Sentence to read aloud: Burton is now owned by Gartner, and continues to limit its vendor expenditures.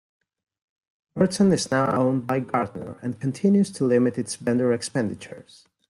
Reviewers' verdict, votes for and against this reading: rejected, 1, 2